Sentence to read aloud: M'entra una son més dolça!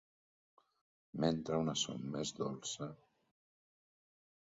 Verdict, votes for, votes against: rejected, 0, 2